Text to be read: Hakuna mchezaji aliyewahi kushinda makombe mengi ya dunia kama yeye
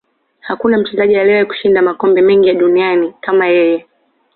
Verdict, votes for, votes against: accepted, 2, 0